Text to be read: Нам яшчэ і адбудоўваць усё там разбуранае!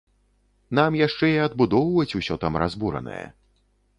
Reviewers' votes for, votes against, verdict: 2, 0, accepted